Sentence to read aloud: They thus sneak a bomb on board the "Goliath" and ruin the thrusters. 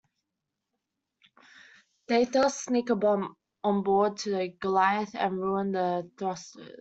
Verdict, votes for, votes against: rejected, 0, 2